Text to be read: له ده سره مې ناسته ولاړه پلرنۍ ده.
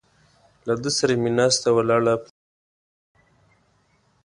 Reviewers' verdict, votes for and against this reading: rejected, 1, 2